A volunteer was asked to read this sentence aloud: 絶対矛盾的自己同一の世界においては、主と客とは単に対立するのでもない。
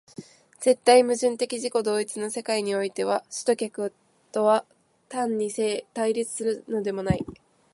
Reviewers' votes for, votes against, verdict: 0, 2, rejected